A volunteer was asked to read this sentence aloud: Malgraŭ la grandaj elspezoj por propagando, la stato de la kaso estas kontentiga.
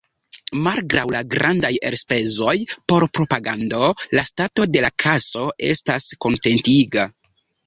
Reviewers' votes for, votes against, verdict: 1, 2, rejected